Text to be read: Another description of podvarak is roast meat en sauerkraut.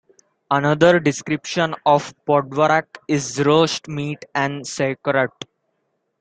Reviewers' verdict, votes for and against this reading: accepted, 2, 0